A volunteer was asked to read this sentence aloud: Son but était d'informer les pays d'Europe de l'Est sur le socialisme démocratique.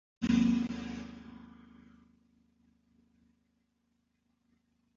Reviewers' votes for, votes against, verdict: 0, 2, rejected